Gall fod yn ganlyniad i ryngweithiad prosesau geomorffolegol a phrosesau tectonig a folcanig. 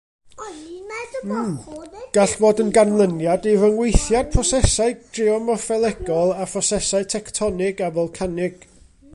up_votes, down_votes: 0, 2